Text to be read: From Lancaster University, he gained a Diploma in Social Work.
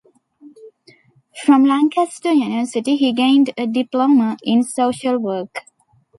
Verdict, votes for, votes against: accepted, 2, 0